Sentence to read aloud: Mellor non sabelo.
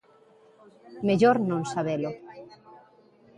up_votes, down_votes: 2, 1